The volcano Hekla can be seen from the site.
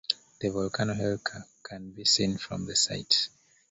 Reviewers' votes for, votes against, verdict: 0, 2, rejected